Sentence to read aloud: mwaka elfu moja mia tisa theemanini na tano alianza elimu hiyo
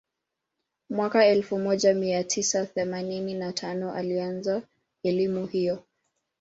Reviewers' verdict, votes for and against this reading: accepted, 2, 0